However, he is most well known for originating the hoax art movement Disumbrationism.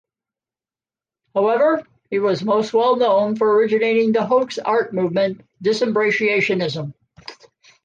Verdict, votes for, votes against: rejected, 0, 2